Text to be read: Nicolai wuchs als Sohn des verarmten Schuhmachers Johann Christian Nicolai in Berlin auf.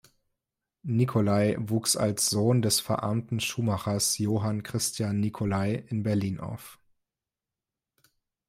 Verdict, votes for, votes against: accepted, 2, 0